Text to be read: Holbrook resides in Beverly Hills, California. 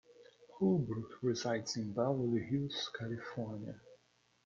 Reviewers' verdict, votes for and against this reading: rejected, 1, 2